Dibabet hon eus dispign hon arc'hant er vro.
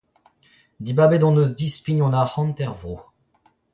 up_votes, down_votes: 0, 2